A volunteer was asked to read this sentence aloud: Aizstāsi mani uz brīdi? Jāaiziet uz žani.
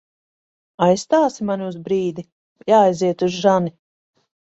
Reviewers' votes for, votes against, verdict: 2, 0, accepted